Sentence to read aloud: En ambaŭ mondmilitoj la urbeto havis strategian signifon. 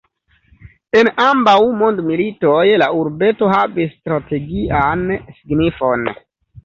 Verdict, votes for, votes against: accepted, 2, 0